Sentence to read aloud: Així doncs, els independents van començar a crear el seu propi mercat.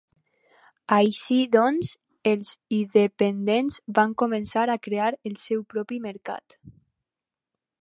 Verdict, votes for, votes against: rejected, 2, 2